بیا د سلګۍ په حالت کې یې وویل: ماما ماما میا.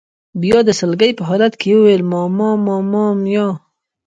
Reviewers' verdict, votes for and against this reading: rejected, 0, 2